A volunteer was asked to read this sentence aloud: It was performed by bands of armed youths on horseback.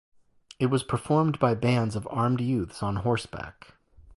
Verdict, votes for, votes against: accepted, 2, 0